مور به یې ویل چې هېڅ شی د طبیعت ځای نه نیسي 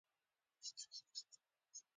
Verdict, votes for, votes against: rejected, 0, 2